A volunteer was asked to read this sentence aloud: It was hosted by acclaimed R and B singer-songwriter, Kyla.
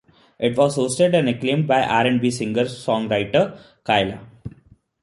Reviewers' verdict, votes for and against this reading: rejected, 0, 2